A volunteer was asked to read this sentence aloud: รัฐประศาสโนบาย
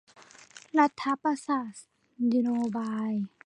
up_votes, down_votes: 0, 2